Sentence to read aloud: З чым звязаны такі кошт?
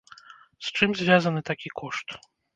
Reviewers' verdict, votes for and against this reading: rejected, 1, 2